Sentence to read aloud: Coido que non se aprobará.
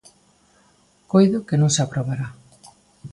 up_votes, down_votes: 2, 1